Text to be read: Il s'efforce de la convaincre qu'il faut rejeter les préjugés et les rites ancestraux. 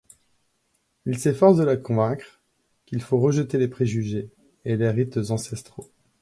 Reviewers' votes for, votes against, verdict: 2, 0, accepted